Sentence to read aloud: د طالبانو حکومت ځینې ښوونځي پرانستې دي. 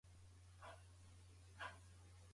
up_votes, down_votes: 0, 2